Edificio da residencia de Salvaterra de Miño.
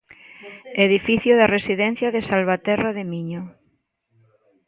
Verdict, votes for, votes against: rejected, 1, 2